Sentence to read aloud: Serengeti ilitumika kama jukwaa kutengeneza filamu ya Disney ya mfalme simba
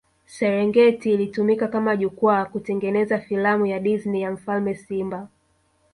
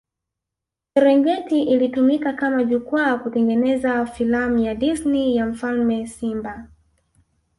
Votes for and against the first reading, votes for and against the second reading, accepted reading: 1, 2, 2, 1, second